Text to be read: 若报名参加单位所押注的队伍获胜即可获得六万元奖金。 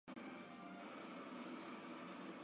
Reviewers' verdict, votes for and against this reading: rejected, 0, 3